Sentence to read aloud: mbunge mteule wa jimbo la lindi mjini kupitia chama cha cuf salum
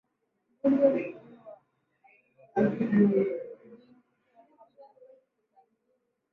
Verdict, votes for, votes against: rejected, 0, 2